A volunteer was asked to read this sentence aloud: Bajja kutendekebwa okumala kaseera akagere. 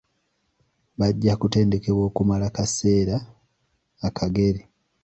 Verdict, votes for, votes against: accepted, 3, 0